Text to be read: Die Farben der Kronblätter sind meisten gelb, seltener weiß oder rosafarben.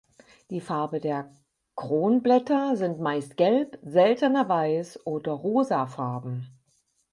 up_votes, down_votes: 2, 6